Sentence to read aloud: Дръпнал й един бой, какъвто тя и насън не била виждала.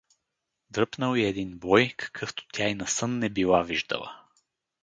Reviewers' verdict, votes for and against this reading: accepted, 4, 0